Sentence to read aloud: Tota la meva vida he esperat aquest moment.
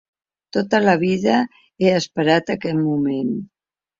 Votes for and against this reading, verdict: 0, 2, rejected